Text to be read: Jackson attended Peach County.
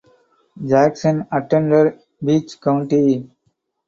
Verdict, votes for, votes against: rejected, 0, 4